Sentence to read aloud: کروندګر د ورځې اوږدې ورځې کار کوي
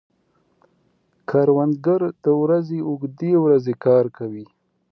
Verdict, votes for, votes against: accepted, 2, 0